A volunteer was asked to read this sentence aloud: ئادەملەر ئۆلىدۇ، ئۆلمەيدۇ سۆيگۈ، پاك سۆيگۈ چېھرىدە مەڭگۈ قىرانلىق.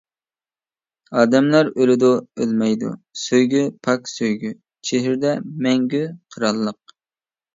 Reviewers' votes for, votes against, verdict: 2, 0, accepted